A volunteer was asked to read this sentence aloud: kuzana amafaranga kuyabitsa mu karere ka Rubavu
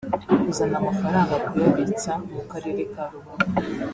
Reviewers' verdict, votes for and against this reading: rejected, 0, 2